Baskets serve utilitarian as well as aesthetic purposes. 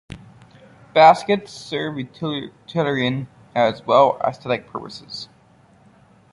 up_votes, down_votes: 1, 2